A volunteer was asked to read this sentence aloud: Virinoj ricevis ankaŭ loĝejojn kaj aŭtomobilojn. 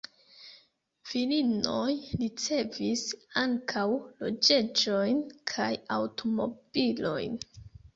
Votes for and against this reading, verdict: 2, 3, rejected